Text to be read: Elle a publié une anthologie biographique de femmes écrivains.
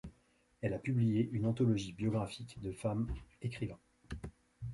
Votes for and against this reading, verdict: 1, 2, rejected